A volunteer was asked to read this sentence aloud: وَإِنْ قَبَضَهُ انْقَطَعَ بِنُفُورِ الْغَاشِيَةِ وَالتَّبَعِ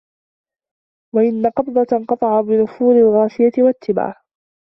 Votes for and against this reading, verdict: 0, 2, rejected